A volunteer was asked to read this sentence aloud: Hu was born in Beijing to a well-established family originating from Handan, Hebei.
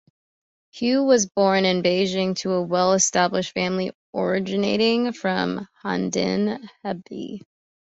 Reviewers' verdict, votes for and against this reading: accepted, 2, 1